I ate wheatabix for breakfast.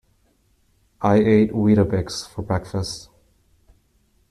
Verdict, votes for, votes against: accepted, 2, 0